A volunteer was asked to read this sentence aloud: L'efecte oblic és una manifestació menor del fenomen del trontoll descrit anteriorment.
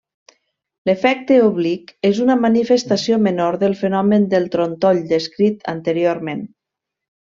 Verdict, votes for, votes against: accepted, 2, 0